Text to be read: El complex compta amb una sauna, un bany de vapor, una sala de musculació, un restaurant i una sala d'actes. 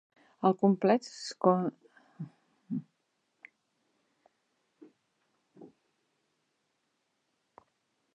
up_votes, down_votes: 0, 2